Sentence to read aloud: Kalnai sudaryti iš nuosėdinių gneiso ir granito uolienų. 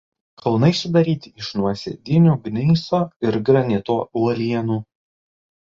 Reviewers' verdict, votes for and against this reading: rejected, 0, 2